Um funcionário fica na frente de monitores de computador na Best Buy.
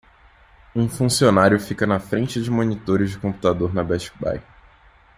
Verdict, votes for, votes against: accepted, 2, 0